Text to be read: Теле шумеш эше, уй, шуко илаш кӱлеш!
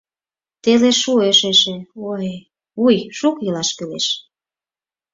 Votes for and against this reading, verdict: 2, 4, rejected